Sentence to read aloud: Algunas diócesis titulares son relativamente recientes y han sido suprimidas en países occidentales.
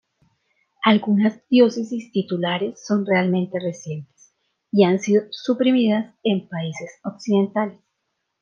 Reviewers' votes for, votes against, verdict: 1, 2, rejected